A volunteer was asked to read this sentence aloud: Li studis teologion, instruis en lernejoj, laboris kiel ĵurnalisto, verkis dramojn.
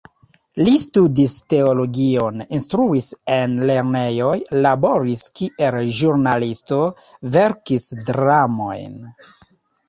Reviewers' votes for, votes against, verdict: 3, 0, accepted